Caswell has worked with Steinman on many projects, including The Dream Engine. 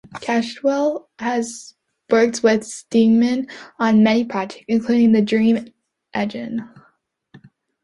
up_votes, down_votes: 0, 2